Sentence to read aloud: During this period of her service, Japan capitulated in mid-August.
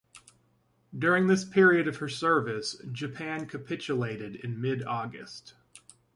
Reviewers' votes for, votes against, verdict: 2, 0, accepted